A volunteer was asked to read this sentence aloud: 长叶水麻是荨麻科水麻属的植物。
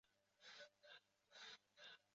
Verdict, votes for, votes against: rejected, 0, 4